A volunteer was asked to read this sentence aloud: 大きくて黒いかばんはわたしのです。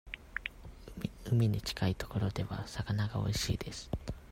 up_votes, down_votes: 0, 2